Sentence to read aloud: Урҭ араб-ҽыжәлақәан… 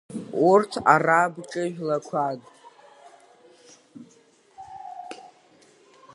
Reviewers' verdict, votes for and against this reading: rejected, 1, 2